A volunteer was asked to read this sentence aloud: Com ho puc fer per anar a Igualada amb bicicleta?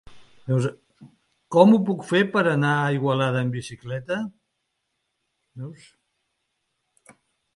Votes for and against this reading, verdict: 0, 2, rejected